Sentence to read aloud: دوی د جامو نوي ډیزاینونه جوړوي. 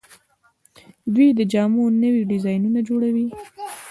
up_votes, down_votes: 2, 0